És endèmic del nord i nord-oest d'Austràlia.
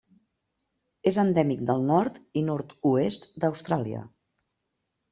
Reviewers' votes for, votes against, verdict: 3, 0, accepted